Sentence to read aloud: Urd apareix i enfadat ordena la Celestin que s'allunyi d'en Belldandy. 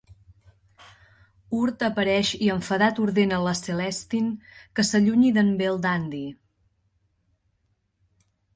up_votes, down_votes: 2, 0